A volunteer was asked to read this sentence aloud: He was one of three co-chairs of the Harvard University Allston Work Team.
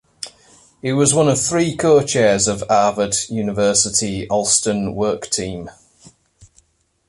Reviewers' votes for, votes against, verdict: 1, 2, rejected